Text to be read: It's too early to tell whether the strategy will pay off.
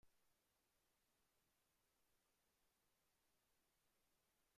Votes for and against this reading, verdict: 0, 2, rejected